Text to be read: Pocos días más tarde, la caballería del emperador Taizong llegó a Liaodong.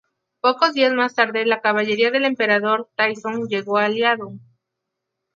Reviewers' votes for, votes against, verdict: 2, 2, rejected